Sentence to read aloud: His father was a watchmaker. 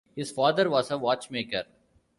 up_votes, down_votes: 2, 0